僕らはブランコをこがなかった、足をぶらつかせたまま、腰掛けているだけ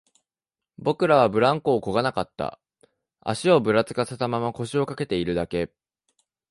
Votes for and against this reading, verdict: 2, 0, accepted